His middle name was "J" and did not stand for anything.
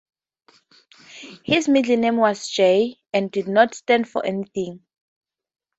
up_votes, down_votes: 2, 0